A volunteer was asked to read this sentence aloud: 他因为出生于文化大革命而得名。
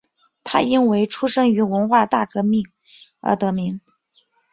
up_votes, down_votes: 2, 0